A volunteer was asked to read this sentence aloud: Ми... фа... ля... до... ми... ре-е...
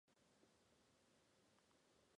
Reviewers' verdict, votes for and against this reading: rejected, 1, 2